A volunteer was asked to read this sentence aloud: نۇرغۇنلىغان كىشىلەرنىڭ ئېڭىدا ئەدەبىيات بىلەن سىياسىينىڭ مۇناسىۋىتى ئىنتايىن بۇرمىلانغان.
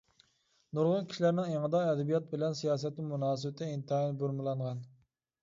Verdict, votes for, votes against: rejected, 0, 2